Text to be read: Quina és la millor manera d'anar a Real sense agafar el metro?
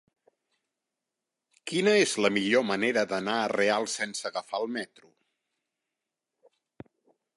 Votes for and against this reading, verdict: 1, 2, rejected